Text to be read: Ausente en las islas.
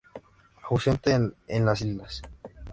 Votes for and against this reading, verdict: 0, 2, rejected